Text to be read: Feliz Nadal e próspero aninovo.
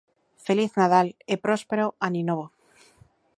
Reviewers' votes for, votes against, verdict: 2, 0, accepted